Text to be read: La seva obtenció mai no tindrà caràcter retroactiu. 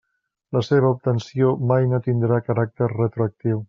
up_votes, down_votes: 3, 0